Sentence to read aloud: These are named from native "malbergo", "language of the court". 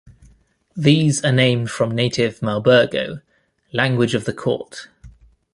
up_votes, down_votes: 2, 0